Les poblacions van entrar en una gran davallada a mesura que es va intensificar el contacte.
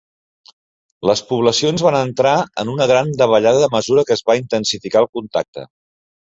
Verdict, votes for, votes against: accepted, 3, 0